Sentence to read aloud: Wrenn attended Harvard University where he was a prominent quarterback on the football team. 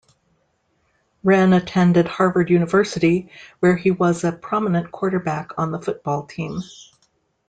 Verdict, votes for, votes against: accepted, 2, 0